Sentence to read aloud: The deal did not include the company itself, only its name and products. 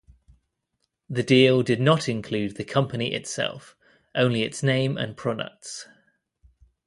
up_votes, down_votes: 2, 0